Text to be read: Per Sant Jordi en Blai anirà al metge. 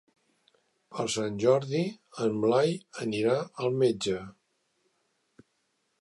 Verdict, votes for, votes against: accepted, 3, 0